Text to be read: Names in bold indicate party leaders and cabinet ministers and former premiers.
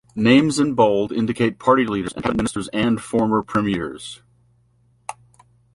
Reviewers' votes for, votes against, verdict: 0, 2, rejected